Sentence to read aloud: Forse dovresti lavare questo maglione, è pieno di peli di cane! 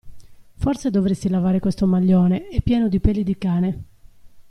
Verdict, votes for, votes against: accepted, 2, 0